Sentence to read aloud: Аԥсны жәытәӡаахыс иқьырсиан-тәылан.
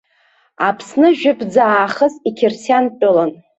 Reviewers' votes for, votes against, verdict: 2, 0, accepted